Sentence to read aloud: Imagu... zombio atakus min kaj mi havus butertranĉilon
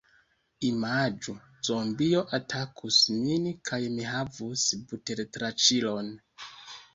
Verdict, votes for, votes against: accepted, 2, 1